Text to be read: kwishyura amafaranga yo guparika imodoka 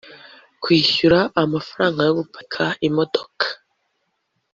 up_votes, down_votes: 1, 2